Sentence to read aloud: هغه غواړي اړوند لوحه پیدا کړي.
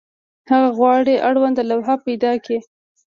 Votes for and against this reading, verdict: 0, 2, rejected